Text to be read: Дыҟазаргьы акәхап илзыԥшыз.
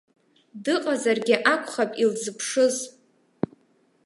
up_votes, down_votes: 2, 0